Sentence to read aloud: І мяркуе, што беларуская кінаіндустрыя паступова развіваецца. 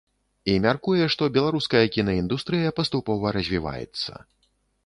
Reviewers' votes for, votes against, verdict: 2, 1, accepted